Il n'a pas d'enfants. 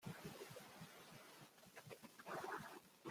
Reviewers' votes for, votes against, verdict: 0, 2, rejected